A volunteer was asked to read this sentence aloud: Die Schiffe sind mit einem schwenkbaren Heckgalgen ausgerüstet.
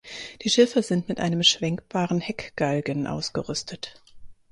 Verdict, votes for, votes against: accepted, 4, 0